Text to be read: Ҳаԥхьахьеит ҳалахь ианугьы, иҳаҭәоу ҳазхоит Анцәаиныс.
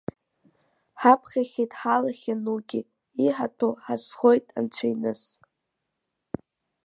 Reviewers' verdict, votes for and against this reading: accepted, 5, 4